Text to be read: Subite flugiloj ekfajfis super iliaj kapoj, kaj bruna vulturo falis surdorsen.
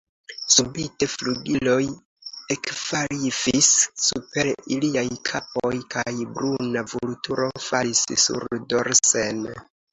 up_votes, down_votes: 0, 2